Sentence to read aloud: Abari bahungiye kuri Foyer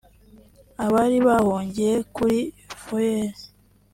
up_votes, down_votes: 0, 2